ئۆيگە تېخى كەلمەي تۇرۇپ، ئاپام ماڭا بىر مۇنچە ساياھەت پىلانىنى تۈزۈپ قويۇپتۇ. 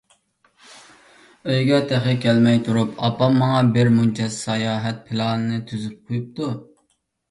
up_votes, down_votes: 2, 0